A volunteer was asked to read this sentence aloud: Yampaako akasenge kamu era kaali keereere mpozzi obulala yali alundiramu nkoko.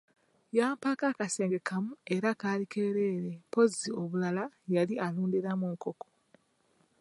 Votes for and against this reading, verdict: 2, 0, accepted